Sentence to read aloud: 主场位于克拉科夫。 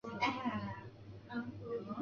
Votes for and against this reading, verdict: 1, 4, rejected